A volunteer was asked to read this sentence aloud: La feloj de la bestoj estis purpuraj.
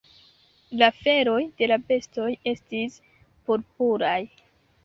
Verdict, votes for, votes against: rejected, 0, 2